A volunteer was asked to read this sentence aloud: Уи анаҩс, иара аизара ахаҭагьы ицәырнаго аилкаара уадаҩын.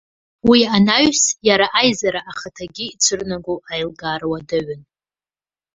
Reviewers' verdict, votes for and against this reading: rejected, 1, 2